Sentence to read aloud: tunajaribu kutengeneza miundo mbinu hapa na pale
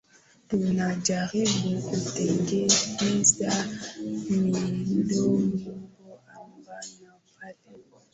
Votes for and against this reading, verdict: 0, 2, rejected